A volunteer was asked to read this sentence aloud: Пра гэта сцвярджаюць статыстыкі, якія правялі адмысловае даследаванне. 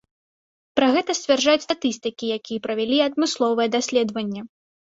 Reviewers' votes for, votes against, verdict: 0, 2, rejected